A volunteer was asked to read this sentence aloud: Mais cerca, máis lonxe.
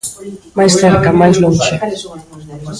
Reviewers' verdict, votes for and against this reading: rejected, 0, 2